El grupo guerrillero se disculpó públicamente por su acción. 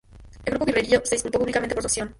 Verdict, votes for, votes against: rejected, 0, 2